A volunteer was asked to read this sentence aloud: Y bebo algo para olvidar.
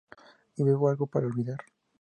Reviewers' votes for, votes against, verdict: 2, 0, accepted